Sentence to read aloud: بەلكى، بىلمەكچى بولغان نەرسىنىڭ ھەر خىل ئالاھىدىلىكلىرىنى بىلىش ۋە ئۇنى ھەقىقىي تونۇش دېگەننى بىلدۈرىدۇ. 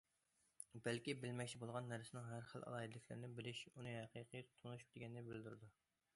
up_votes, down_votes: 0, 2